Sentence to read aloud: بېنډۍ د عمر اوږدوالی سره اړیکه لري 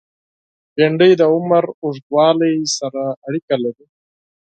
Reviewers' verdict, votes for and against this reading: rejected, 2, 4